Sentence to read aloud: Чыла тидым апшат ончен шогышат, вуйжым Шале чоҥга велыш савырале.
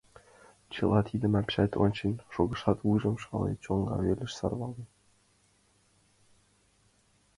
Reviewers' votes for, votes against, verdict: 1, 2, rejected